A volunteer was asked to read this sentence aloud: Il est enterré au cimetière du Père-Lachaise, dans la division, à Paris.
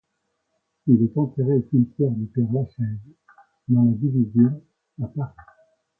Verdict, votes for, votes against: accepted, 2, 1